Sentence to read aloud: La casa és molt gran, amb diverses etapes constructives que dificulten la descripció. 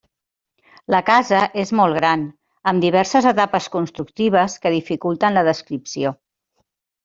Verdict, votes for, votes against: accepted, 3, 0